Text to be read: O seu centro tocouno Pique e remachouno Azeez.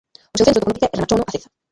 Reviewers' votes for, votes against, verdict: 0, 2, rejected